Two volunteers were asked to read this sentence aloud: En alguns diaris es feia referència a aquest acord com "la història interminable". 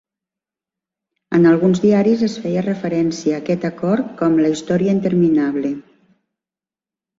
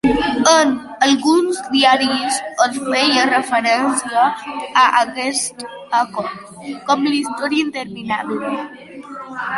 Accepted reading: first